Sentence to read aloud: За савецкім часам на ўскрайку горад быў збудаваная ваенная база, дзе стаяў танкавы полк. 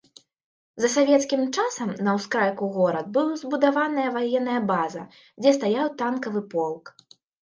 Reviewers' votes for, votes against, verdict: 3, 0, accepted